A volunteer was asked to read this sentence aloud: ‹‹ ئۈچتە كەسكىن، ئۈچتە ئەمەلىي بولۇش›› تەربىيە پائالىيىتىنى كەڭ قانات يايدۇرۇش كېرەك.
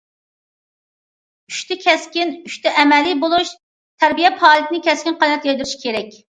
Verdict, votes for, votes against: rejected, 0, 2